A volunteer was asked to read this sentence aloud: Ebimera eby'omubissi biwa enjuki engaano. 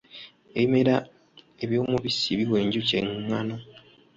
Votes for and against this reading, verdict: 0, 2, rejected